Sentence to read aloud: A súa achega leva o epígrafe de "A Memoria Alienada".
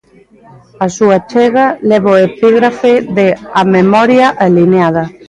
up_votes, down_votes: 0, 2